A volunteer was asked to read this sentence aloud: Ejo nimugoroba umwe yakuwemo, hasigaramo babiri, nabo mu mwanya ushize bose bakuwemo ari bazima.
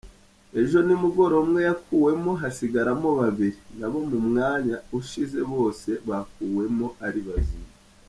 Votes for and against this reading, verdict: 2, 0, accepted